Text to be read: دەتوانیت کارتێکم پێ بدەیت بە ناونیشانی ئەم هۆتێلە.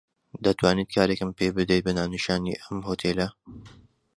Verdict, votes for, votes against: rejected, 1, 2